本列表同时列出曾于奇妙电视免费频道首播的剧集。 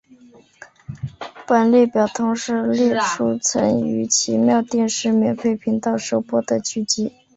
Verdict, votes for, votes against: accepted, 2, 1